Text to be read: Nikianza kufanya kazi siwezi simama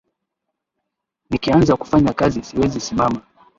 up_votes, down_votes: 2, 0